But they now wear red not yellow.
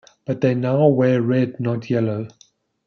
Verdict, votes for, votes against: accepted, 2, 0